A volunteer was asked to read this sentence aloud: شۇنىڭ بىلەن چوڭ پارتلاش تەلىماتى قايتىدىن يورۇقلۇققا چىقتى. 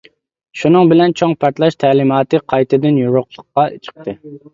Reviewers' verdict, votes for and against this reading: accepted, 2, 0